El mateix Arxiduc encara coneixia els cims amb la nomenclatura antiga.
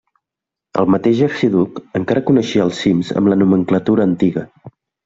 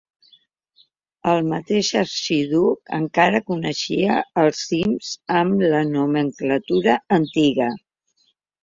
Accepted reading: first